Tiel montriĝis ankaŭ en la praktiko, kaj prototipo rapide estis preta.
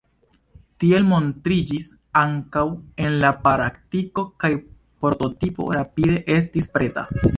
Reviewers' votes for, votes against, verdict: 1, 2, rejected